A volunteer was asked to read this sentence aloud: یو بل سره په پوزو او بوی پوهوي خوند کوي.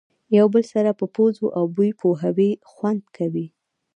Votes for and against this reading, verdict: 2, 1, accepted